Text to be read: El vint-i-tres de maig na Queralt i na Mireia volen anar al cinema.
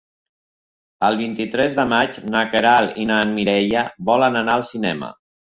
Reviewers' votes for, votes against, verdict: 3, 0, accepted